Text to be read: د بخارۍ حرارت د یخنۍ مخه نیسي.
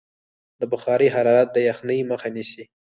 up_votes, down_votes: 2, 4